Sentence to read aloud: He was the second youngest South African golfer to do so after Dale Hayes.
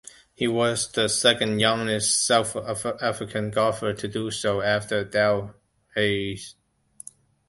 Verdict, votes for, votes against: rejected, 1, 2